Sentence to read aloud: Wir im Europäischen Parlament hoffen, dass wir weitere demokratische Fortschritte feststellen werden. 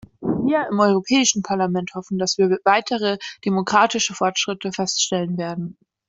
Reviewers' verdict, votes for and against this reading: rejected, 1, 2